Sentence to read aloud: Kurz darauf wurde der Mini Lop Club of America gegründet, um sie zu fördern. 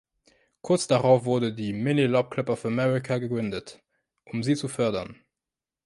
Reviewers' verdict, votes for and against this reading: accepted, 2, 1